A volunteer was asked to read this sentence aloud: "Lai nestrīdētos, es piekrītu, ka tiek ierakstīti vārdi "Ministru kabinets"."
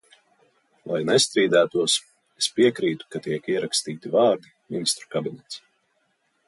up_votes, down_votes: 2, 0